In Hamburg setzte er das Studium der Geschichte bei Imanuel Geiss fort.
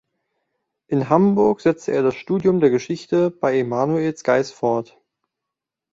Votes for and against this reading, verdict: 0, 2, rejected